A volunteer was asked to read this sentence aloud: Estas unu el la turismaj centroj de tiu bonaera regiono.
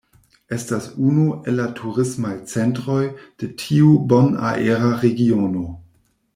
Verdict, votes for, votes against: accepted, 2, 0